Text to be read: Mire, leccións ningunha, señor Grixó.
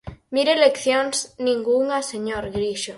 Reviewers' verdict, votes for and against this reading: rejected, 2, 4